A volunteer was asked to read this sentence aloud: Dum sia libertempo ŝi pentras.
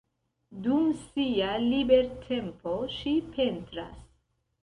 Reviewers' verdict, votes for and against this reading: rejected, 1, 2